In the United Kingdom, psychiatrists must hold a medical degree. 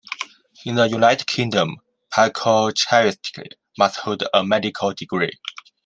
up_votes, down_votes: 0, 2